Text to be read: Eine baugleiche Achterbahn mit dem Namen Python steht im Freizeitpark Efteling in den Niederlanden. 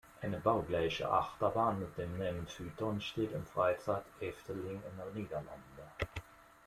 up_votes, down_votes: 2, 0